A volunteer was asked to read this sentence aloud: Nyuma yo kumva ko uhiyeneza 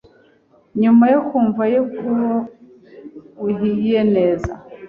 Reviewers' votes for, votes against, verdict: 1, 2, rejected